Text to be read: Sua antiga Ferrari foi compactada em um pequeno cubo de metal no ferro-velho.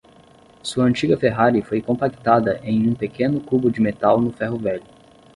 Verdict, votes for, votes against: accepted, 10, 0